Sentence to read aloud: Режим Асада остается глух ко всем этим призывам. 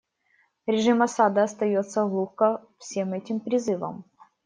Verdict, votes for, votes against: rejected, 1, 2